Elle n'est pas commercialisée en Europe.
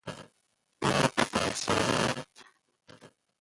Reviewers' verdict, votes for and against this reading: rejected, 0, 2